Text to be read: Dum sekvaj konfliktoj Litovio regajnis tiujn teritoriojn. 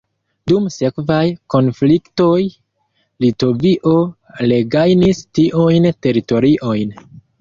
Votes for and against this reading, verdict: 1, 2, rejected